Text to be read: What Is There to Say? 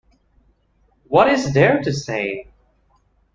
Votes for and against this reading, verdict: 2, 0, accepted